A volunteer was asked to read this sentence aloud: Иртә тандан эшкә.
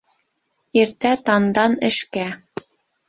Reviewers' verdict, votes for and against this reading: accepted, 3, 0